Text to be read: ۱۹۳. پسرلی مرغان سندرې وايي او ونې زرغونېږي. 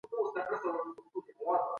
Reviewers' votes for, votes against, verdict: 0, 2, rejected